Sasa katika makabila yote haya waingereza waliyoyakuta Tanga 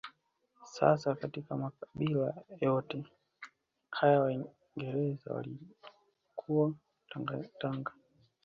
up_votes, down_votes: 1, 2